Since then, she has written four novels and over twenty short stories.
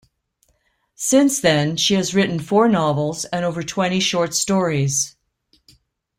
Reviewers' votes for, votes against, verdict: 2, 0, accepted